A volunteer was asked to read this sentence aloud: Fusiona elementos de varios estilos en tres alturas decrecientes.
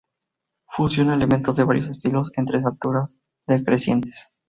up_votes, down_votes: 4, 2